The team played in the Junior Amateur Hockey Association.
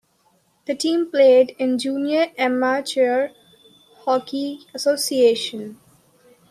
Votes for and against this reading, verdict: 0, 2, rejected